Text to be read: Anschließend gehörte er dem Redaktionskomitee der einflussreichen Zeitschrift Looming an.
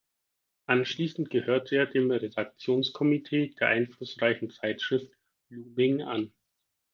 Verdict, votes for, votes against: rejected, 0, 4